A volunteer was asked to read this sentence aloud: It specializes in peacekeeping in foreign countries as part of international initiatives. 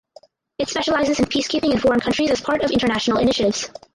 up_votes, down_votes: 2, 2